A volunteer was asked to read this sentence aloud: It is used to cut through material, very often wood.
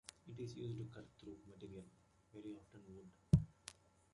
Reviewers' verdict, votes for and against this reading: rejected, 1, 2